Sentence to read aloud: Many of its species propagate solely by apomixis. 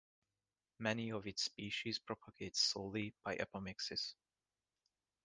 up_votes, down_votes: 2, 1